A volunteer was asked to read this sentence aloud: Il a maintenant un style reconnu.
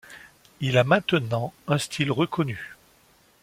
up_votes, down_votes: 2, 0